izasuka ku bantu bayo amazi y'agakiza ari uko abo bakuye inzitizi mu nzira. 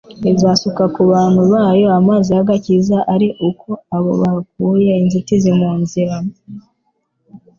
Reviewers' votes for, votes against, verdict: 2, 0, accepted